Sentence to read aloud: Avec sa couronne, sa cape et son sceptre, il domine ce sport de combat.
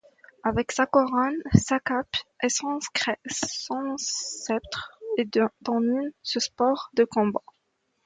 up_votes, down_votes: 0, 2